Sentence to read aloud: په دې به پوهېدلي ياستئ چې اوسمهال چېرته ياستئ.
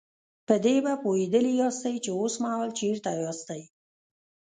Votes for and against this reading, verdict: 2, 0, accepted